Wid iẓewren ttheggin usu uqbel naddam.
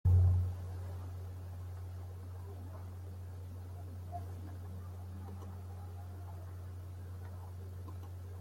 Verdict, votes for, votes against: rejected, 0, 2